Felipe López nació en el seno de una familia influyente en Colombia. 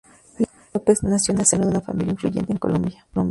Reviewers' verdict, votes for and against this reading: rejected, 0, 2